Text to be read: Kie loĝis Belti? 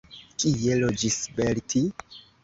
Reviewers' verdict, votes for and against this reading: rejected, 0, 2